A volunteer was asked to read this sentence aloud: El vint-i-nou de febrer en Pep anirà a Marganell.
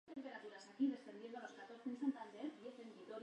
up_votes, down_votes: 0, 2